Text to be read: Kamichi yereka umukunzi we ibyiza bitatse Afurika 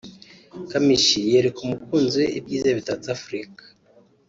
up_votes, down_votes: 2, 0